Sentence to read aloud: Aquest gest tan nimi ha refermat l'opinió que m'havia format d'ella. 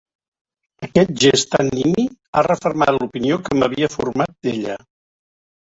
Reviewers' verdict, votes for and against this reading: accepted, 2, 0